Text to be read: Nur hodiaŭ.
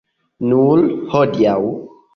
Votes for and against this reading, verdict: 3, 2, accepted